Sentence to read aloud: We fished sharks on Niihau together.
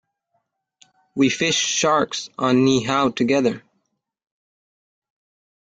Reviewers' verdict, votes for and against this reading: accepted, 2, 0